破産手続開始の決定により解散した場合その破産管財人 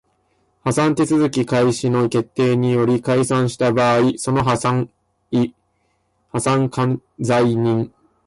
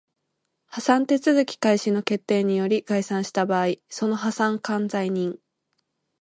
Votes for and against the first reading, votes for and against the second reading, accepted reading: 0, 2, 2, 0, second